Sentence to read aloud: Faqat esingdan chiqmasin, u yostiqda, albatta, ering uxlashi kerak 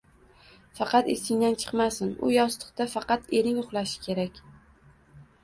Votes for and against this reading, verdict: 1, 2, rejected